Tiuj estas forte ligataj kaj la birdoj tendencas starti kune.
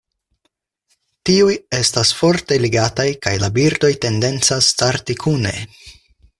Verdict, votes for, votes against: accepted, 4, 0